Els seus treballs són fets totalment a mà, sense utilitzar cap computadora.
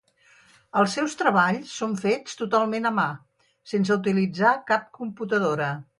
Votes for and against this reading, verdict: 4, 0, accepted